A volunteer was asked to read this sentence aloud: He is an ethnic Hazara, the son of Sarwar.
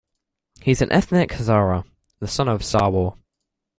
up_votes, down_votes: 3, 2